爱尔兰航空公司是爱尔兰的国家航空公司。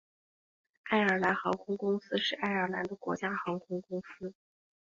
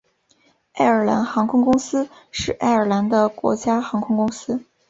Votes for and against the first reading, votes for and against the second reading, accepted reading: 1, 2, 3, 0, second